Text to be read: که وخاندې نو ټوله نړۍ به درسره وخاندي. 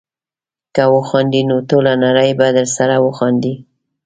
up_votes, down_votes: 2, 0